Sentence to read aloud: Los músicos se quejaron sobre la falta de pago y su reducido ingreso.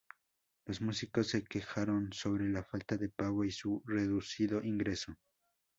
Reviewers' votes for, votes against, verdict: 2, 0, accepted